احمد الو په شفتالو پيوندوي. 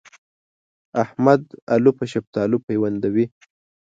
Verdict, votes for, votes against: accepted, 2, 0